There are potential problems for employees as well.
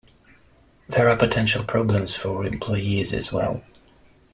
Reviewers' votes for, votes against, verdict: 2, 0, accepted